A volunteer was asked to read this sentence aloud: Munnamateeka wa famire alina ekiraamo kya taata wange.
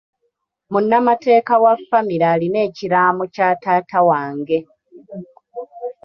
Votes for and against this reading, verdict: 2, 0, accepted